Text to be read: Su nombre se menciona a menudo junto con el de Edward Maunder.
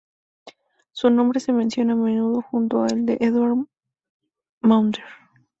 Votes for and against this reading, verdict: 0, 2, rejected